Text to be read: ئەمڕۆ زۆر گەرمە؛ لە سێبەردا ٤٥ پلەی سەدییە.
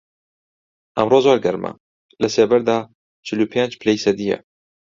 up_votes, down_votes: 0, 2